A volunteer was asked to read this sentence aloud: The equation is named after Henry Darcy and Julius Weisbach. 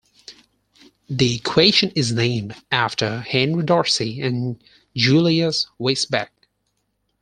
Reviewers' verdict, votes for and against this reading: rejected, 0, 4